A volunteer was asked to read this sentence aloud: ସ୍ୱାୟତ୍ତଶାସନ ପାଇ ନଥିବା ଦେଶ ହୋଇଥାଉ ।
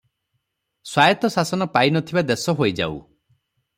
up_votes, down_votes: 0, 3